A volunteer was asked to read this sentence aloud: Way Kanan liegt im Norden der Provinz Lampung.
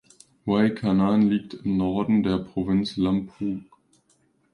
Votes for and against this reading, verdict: 0, 2, rejected